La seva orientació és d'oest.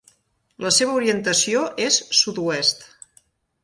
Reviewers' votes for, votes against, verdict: 1, 2, rejected